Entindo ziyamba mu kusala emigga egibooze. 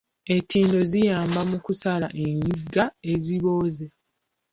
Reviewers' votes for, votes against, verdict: 0, 2, rejected